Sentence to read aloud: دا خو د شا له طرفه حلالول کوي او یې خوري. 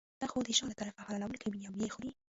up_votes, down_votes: 1, 2